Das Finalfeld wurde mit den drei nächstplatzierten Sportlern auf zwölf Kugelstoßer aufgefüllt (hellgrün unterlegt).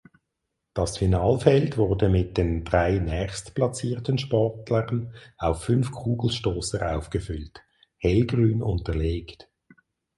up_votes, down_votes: 0, 6